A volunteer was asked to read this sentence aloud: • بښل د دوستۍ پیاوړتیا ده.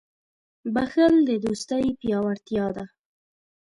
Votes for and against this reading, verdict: 2, 0, accepted